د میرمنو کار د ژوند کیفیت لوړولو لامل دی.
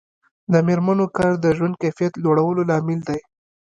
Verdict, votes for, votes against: rejected, 1, 2